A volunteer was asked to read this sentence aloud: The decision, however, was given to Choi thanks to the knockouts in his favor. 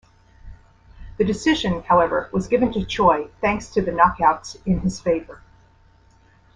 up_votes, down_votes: 2, 0